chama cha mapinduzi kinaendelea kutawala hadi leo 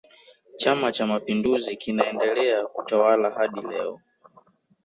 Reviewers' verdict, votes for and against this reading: accepted, 2, 0